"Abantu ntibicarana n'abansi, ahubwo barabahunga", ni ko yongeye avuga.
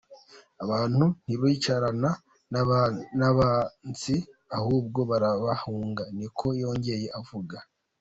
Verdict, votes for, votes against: rejected, 0, 2